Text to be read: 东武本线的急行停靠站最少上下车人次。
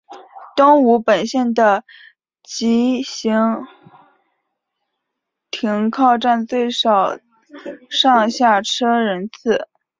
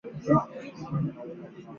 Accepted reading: first